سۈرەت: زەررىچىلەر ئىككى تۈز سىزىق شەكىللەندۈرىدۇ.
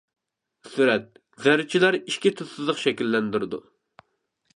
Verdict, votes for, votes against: rejected, 0, 2